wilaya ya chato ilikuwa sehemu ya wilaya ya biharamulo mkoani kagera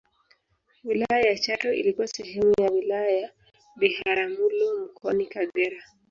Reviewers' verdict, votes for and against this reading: rejected, 1, 2